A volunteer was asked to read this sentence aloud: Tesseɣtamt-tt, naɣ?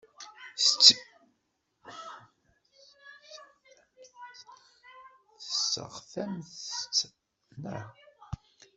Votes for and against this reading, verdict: 0, 2, rejected